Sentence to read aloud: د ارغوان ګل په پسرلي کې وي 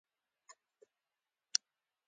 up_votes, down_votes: 2, 1